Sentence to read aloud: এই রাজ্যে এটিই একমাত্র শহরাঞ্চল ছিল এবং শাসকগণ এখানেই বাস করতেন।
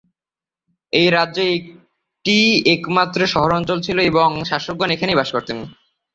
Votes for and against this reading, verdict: 0, 3, rejected